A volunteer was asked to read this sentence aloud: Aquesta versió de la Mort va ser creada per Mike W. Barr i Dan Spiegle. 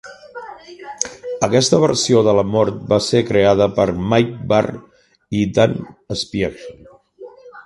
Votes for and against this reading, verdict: 1, 2, rejected